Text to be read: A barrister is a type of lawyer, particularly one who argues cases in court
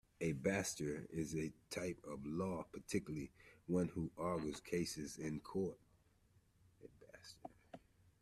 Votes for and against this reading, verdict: 0, 2, rejected